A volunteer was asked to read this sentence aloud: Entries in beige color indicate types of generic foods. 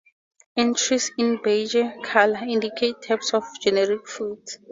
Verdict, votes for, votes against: rejected, 2, 2